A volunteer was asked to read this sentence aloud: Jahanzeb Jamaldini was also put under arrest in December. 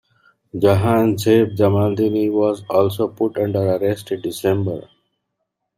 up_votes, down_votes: 2, 0